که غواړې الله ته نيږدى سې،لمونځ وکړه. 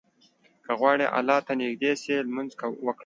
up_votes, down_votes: 2, 1